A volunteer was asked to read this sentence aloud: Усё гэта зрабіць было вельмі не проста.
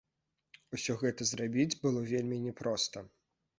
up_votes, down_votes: 2, 1